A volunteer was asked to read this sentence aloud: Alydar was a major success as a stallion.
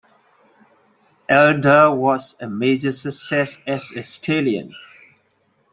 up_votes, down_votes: 1, 2